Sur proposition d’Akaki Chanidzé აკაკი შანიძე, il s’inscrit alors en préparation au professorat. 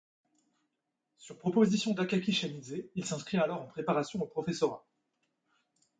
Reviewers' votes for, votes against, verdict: 2, 0, accepted